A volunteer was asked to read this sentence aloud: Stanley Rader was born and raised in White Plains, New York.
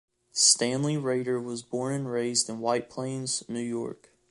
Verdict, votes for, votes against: accepted, 2, 1